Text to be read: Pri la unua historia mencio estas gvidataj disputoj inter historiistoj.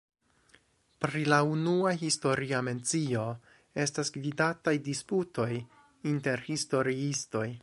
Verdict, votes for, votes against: accepted, 2, 1